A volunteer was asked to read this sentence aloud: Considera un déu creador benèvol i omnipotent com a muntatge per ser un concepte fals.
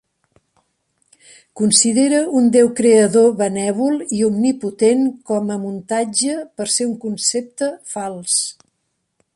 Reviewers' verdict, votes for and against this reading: accepted, 3, 0